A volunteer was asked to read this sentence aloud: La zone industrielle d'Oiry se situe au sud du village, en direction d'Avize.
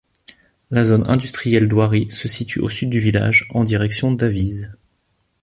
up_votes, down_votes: 2, 0